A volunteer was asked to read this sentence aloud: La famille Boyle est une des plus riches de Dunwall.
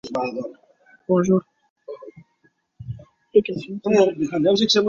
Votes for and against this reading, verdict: 0, 2, rejected